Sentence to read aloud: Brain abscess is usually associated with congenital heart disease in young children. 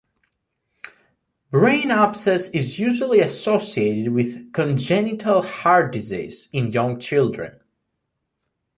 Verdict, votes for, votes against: accepted, 2, 0